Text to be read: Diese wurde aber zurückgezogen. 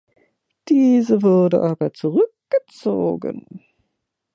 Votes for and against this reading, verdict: 2, 1, accepted